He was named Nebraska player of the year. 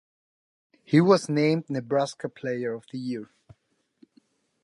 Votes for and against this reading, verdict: 4, 0, accepted